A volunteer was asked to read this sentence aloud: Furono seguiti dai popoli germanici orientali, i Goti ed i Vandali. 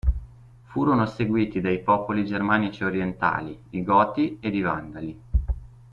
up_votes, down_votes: 2, 0